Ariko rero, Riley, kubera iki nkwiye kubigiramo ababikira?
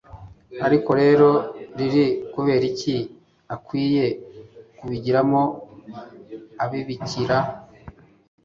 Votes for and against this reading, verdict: 1, 2, rejected